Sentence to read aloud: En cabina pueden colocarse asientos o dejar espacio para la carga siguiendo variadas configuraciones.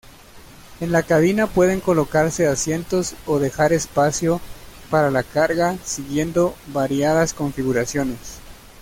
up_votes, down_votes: 1, 2